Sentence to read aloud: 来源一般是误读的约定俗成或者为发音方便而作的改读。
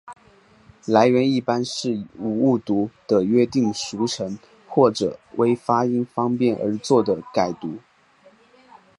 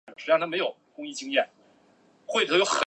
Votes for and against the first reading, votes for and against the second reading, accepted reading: 2, 0, 0, 4, first